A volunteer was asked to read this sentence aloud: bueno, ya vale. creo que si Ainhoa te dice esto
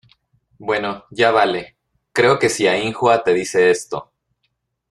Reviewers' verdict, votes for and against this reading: rejected, 1, 2